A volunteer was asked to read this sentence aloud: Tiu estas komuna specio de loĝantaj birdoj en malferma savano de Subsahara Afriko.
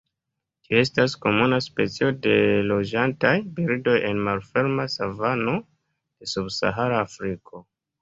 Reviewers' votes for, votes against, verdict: 2, 1, accepted